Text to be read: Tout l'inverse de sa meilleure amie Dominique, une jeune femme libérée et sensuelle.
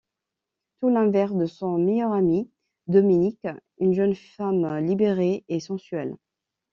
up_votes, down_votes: 0, 2